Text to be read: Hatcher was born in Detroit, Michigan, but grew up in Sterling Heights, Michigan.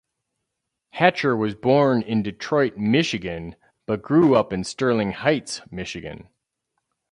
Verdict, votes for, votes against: accepted, 2, 0